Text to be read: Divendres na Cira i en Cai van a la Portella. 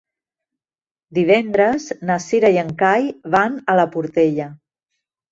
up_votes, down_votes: 0, 2